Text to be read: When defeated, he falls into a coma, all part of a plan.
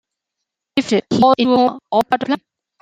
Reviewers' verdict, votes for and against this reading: rejected, 0, 2